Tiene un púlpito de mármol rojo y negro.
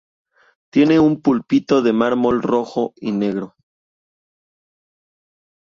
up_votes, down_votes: 2, 0